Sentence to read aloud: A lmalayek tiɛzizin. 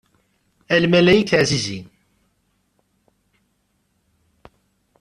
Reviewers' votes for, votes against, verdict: 2, 0, accepted